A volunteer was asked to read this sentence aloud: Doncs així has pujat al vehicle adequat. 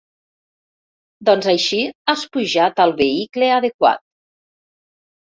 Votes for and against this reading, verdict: 1, 2, rejected